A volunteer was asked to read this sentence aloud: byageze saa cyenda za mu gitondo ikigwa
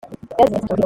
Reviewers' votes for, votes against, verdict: 0, 2, rejected